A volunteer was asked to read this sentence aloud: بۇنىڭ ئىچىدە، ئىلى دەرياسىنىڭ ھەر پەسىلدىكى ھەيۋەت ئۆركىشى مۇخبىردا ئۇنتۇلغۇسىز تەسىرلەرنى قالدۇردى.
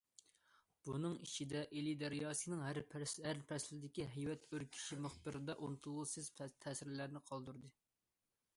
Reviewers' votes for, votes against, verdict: 0, 2, rejected